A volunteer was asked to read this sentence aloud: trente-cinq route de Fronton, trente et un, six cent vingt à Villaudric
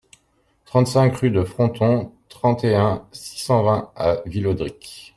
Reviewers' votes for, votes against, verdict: 0, 2, rejected